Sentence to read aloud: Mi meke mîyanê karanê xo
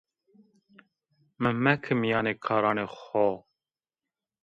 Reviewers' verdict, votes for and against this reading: rejected, 0, 2